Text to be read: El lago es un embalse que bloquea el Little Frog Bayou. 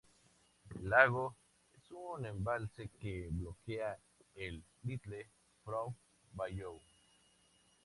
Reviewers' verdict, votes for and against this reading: rejected, 0, 2